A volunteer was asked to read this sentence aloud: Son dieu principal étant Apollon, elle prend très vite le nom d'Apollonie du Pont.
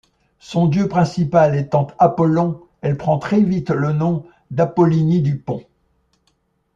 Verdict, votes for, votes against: rejected, 0, 2